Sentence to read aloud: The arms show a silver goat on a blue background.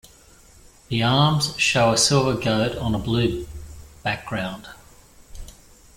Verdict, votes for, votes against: rejected, 1, 2